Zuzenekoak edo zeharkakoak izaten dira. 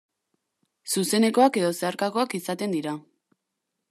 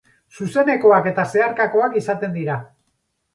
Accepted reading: first